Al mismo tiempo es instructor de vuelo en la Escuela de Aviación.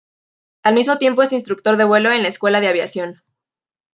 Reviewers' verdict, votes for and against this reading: accepted, 2, 0